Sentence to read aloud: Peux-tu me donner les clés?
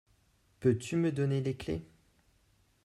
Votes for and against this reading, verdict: 2, 0, accepted